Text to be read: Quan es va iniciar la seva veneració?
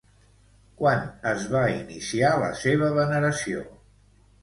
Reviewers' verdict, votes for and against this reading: rejected, 1, 2